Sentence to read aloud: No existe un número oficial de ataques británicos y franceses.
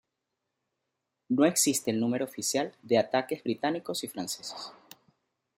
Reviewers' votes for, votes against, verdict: 2, 0, accepted